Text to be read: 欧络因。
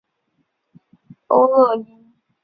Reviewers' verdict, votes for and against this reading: rejected, 0, 2